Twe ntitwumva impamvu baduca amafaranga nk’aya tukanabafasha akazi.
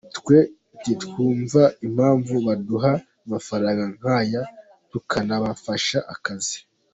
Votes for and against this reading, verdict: 2, 1, accepted